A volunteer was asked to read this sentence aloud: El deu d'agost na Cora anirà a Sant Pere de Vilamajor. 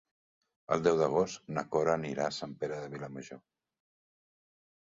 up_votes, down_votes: 3, 0